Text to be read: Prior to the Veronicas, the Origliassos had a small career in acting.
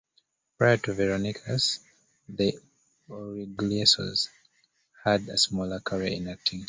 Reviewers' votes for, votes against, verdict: 0, 2, rejected